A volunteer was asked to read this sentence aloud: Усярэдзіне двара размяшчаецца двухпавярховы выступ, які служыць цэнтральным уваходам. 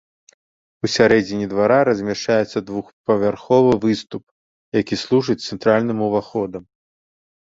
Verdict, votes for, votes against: accepted, 2, 0